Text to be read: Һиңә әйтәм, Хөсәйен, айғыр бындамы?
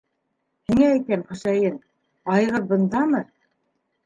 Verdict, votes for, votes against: rejected, 0, 2